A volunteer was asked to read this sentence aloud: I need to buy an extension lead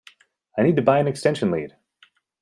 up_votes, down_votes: 2, 0